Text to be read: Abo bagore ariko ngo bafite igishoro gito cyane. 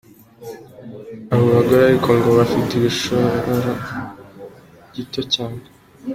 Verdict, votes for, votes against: accepted, 2, 1